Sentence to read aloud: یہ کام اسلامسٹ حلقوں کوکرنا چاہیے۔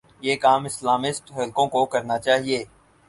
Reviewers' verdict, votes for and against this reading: accepted, 6, 0